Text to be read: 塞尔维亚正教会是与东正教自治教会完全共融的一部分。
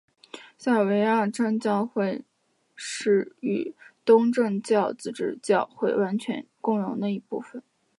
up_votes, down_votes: 0, 2